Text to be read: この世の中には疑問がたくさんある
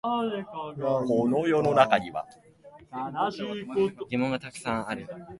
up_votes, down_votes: 0, 2